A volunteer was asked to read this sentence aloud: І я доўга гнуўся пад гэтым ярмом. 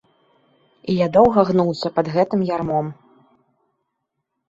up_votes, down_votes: 2, 0